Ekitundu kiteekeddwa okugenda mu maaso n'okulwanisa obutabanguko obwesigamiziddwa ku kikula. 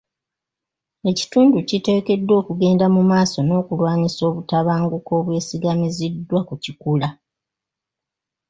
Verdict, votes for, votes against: rejected, 0, 2